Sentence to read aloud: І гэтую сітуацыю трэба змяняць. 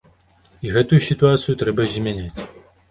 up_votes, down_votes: 2, 0